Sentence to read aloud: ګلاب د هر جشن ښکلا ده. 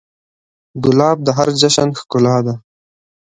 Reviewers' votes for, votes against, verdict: 3, 0, accepted